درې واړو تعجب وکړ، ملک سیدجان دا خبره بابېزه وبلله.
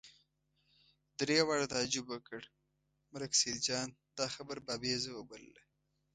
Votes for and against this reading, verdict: 2, 0, accepted